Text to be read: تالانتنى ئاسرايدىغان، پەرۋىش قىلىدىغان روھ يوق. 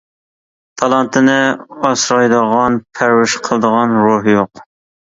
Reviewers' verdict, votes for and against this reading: rejected, 2, 3